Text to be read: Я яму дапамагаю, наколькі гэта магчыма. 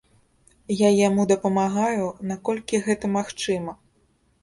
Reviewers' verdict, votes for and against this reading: accepted, 2, 0